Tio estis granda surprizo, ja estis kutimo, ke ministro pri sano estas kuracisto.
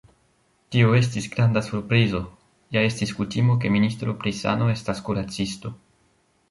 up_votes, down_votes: 3, 0